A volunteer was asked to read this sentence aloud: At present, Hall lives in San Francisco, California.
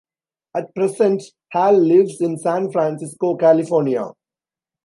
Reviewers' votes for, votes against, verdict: 2, 1, accepted